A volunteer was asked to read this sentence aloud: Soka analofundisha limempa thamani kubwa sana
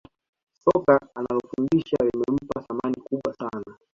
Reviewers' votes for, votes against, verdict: 1, 2, rejected